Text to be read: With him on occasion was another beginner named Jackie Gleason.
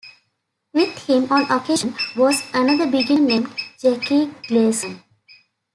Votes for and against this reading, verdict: 1, 2, rejected